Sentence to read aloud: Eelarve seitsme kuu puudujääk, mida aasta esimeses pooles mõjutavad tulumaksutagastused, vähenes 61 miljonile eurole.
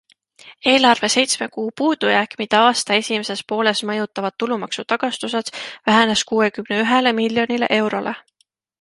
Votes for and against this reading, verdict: 0, 2, rejected